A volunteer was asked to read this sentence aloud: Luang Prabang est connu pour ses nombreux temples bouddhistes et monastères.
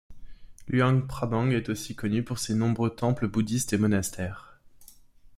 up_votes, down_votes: 2, 0